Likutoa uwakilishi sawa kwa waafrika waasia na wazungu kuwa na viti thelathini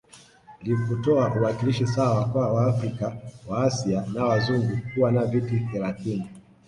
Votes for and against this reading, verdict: 2, 1, accepted